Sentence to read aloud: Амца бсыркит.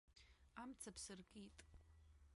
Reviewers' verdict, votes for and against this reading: rejected, 0, 2